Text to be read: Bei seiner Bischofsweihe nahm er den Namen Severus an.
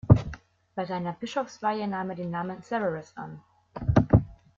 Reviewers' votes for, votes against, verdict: 2, 0, accepted